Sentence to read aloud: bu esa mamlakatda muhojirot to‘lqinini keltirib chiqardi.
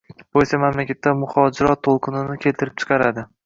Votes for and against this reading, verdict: 2, 0, accepted